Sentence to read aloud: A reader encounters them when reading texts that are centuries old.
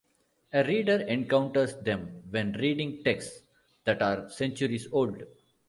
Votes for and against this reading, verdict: 2, 0, accepted